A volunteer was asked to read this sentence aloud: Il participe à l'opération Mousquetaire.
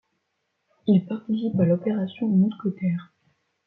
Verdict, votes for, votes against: accepted, 2, 0